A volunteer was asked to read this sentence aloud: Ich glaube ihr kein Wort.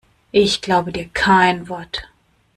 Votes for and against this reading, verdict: 1, 2, rejected